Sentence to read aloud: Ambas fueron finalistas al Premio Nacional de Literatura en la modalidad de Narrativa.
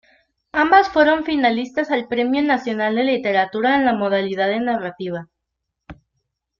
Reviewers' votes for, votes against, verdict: 2, 0, accepted